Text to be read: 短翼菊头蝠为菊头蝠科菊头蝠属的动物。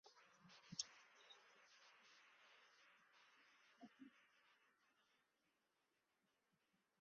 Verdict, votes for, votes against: rejected, 0, 4